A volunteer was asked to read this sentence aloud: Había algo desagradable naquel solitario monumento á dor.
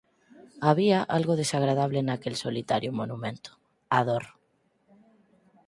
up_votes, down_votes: 4, 6